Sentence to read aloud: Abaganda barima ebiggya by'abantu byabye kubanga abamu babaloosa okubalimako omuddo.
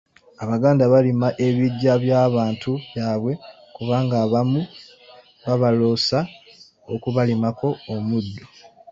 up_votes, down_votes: 1, 2